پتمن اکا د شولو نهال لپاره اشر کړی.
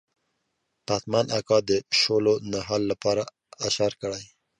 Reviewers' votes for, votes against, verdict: 2, 0, accepted